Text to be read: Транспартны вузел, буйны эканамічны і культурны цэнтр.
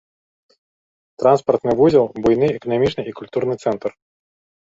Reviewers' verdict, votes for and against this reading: accepted, 3, 0